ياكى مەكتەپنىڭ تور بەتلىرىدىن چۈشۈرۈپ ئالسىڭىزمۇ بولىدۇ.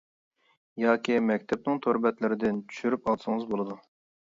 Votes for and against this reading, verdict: 0, 2, rejected